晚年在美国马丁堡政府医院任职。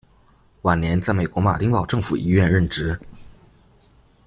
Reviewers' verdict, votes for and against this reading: accepted, 2, 0